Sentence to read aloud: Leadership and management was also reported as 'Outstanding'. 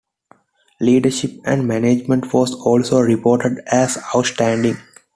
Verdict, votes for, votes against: accepted, 2, 0